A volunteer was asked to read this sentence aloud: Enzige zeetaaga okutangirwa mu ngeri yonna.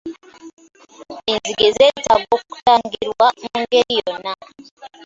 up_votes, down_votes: 0, 2